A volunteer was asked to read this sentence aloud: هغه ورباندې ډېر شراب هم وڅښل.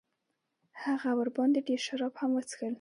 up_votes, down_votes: 2, 0